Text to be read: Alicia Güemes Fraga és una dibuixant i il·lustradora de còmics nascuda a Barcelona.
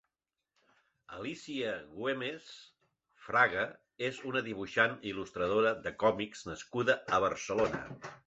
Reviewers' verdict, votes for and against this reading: accepted, 2, 0